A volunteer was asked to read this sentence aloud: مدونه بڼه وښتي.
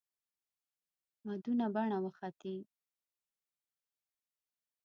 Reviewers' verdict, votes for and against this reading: rejected, 0, 2